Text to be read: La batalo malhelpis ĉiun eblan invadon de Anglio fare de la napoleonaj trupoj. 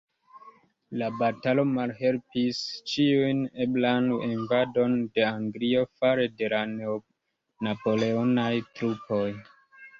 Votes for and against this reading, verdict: 2, 0, accepted